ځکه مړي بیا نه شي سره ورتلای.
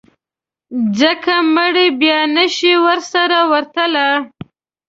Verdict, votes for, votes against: rejected, 1, 2